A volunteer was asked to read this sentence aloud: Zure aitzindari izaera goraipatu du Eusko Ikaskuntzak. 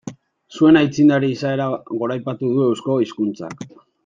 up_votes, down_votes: 0, 2